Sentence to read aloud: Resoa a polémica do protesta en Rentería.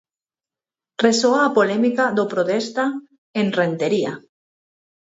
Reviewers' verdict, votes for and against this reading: rejected, 2, 4